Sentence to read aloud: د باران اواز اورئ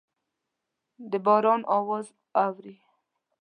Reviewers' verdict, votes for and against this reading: rejected, 1, 2